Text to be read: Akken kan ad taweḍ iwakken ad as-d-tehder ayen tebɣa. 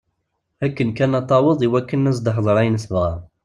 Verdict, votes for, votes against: accepted, 2, 0